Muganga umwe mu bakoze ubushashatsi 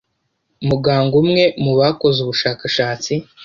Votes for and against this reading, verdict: 0, 2, rejected